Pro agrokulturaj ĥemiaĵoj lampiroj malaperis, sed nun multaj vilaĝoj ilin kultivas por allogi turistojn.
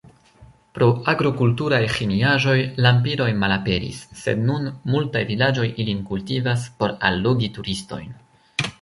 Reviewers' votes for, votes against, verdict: 1, 2, rejected